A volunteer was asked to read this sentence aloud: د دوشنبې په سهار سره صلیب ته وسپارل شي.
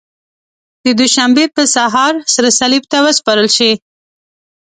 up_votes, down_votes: 2, 0